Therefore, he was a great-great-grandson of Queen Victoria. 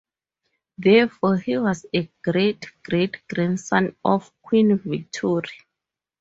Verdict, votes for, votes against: accepted, 4, 0